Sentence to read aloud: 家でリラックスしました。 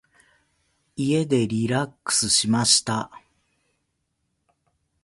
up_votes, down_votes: 2, 0